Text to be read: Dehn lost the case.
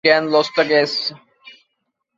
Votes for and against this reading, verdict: 2, 1, accepted